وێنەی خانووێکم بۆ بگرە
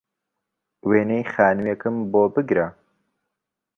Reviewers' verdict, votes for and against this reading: accepted, 2, 0